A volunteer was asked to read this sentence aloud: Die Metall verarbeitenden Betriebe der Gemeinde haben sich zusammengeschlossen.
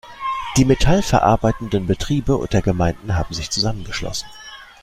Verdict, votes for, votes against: rejected, 1, 2